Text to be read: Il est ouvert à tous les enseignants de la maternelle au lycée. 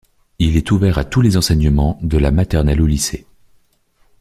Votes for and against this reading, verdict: 1, 2, rejected